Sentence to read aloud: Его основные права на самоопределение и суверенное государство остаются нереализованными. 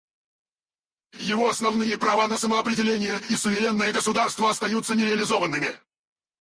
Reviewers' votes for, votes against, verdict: 2, 4, rejected